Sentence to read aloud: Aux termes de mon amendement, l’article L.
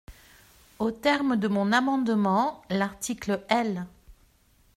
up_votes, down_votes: 2, 0